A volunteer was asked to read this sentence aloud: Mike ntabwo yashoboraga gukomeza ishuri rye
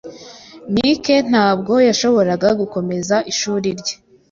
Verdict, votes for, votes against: accepted, 2, 0